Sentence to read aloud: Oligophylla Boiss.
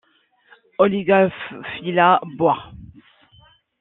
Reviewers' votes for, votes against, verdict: 0, 2, rejected